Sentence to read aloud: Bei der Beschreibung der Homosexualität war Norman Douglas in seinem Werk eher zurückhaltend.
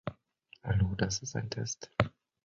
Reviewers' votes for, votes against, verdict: 0, 2, rejected